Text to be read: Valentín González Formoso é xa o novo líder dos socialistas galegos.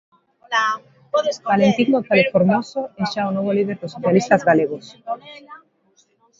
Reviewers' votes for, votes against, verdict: 0, 2, rejected